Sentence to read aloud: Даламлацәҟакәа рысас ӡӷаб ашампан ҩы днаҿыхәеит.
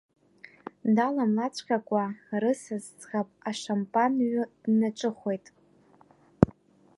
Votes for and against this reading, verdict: 2, 0, accepted